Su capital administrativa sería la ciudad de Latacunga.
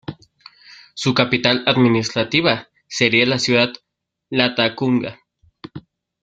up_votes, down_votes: 2, 0